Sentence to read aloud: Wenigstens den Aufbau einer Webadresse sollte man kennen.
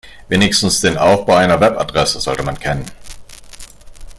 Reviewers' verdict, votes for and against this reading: accepted, 2, 0